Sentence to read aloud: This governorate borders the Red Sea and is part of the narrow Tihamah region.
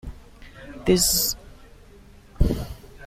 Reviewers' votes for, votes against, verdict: 0, 2, rejected